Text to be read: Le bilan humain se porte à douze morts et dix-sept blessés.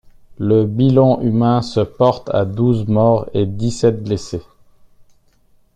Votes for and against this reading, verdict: 2, 0, accepted